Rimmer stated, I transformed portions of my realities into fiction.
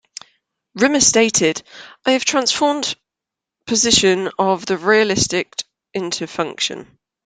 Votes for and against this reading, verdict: 0, 2, rejected